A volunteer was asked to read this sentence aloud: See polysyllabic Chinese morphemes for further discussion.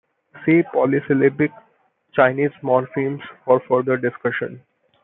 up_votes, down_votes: 2, 0